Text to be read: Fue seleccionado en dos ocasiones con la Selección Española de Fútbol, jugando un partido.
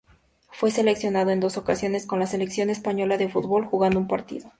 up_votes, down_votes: 2, 0